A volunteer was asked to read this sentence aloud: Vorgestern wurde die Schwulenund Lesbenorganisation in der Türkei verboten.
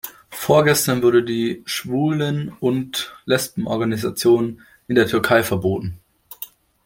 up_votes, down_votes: 2, 0